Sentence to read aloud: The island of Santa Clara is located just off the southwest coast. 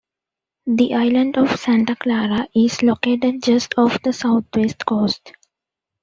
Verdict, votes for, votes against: accepted, 2, 0